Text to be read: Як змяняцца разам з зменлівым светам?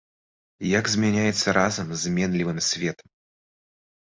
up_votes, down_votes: 1, 2